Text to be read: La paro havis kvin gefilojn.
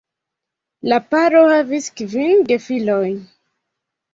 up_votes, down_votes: 2, 1